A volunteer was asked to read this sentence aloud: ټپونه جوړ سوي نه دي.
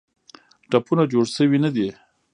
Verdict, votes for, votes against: rejected, 1, 2